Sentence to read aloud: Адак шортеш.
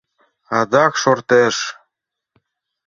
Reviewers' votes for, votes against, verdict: 2, 0, accepted